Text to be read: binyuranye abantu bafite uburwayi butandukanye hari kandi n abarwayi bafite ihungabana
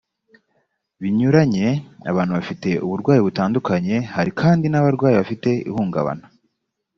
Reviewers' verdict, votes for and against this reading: accepted, 2, 0